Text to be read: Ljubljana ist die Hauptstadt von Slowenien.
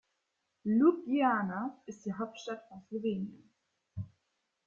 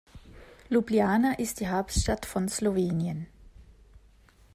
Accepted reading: second